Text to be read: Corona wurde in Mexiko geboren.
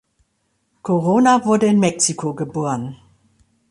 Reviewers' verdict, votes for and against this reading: accepted, 2, 0